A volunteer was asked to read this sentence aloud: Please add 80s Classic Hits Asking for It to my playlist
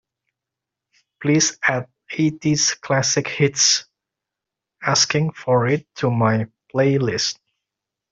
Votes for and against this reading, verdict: 0, 2, rejected